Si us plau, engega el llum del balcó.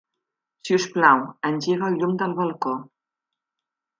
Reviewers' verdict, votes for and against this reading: accepted, 3, 0